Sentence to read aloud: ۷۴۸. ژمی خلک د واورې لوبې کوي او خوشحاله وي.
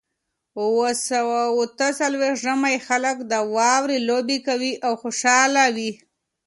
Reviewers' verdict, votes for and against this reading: rejected, 0, 2